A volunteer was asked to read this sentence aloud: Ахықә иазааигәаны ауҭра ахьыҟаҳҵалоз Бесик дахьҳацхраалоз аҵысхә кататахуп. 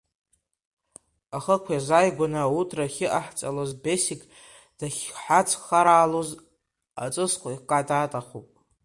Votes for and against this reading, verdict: 1, 2, rejected